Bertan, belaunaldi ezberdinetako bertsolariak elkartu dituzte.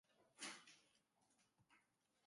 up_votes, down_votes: 0, 2